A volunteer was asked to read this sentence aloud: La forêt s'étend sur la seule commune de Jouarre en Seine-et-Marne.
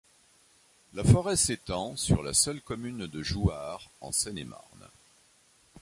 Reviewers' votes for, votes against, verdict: 2, 0, accepted